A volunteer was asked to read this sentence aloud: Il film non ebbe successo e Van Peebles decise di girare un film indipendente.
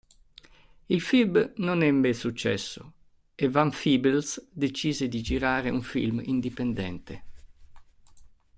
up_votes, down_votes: 0, 2